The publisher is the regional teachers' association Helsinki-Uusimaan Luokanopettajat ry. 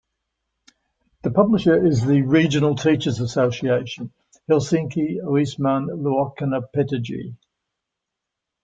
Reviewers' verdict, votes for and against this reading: rejected, 1, 2